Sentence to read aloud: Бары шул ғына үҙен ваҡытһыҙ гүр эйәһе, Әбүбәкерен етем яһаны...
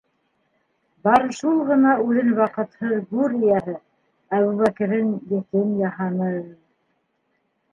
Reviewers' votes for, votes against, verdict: 0, 2, rejected